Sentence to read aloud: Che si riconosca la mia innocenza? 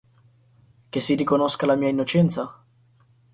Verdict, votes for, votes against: accepted, 4, 0